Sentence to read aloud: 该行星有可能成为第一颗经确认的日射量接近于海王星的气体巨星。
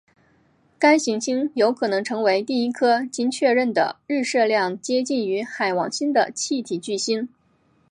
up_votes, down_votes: 5, 0